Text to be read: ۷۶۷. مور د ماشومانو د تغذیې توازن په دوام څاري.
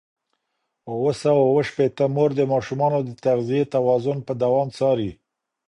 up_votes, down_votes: 0, 2